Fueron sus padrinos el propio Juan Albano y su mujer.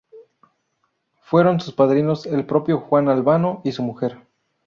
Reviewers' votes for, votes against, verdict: 2, 2, rejected